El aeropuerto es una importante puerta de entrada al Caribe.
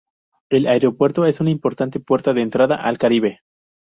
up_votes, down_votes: 0, 2